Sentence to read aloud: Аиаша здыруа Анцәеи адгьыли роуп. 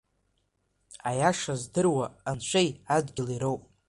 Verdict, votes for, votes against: accepted, 2, 1